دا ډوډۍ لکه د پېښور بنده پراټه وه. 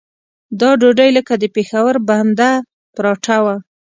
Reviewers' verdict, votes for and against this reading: accepted, 2, 0